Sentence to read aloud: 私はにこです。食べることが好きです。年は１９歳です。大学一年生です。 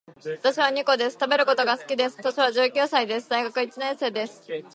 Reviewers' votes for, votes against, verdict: 0, 2, rejected